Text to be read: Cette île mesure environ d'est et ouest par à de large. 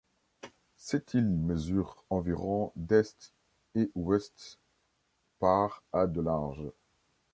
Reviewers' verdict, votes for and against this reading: rejected, 0, 2